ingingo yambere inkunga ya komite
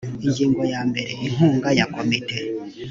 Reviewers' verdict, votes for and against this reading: accepted, 2, 0